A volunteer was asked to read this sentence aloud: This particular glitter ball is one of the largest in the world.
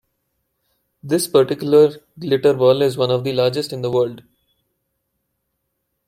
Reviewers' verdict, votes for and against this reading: accepted, 2, 0